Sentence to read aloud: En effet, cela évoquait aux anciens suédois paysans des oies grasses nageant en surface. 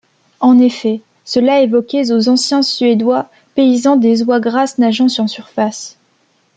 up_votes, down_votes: 1, 2